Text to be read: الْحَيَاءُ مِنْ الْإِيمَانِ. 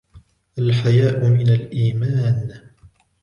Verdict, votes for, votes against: accepted, 2, 0